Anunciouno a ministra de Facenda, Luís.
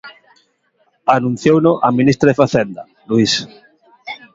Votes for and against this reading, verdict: 2, 0, accepted